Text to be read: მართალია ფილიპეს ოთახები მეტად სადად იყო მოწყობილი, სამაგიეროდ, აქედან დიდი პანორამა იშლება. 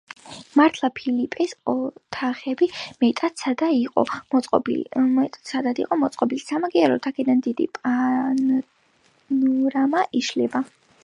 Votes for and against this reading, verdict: 0, 2, rejected